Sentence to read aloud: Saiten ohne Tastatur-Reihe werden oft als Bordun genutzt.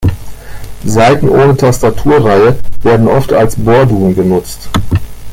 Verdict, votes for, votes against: accepted, 2, 0